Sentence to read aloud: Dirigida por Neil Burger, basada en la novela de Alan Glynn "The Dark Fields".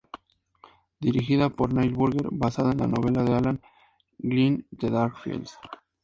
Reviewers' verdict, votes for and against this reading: accepted, 2, 0